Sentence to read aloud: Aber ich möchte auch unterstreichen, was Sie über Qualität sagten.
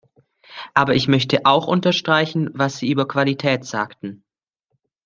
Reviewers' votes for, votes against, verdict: 2, 0, accepted